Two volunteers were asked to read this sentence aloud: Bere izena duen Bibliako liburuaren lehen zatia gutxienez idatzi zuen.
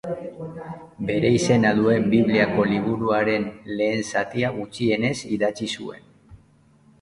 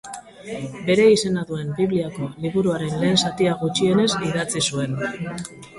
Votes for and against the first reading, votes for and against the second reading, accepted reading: 1, 2, 2, 1, second